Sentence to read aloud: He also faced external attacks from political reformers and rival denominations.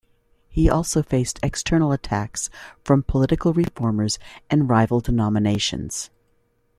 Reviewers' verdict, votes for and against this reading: accepted, 2, 0